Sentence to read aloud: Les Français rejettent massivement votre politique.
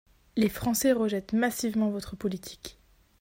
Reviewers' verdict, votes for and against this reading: accepted, 2, 0